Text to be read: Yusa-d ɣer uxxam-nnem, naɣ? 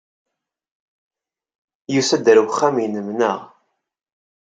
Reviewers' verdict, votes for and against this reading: accepted, 2, 1